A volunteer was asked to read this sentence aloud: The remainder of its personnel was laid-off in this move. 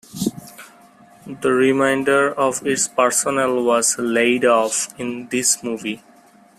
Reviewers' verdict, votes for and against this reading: rejected, 0, 2